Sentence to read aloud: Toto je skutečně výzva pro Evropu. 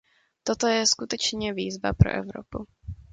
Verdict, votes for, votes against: accepted, 2, 0